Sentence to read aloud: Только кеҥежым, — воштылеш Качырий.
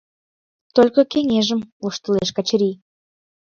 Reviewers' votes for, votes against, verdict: 2, 0, accepted